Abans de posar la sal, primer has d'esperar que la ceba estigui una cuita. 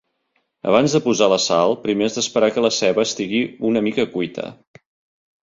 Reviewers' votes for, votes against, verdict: 1, 2, rejected